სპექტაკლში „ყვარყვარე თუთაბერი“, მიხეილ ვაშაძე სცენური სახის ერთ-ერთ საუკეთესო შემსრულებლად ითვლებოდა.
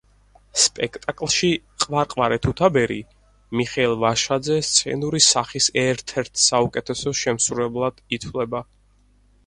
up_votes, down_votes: 0, 4